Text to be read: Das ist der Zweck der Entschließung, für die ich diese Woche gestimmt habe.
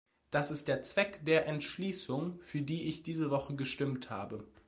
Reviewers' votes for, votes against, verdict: 2, 0, accepted